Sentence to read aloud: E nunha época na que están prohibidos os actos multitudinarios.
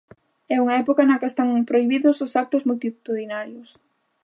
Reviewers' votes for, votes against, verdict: 0, 3, rejected